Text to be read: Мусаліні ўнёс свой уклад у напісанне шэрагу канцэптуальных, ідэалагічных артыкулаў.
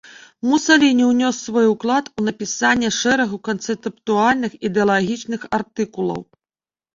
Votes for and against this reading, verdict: 1, 2, rejected